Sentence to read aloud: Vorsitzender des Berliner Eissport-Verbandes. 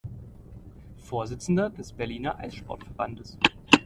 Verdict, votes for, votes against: accepted, 2, 0